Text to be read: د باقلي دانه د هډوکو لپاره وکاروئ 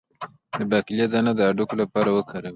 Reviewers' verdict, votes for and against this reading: accepted, 2, 0